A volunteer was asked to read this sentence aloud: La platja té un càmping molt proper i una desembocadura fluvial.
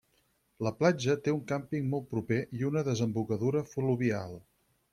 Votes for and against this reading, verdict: 4, 0, accepted